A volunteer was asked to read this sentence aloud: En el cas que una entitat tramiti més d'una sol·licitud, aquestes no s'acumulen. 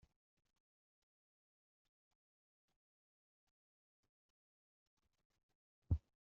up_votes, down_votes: 0, 2